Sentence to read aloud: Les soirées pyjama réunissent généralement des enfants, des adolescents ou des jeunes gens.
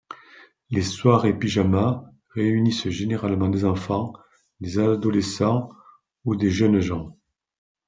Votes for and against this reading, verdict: 2, 0, accepted